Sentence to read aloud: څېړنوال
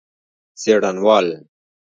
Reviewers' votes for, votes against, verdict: 1, 2, rejected